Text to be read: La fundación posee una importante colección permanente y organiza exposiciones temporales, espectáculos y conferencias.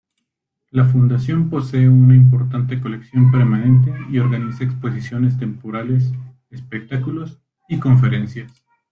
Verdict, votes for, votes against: rejected, 0, 2